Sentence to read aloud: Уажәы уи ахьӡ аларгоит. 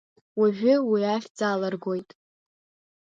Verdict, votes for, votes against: rejected, 1, 2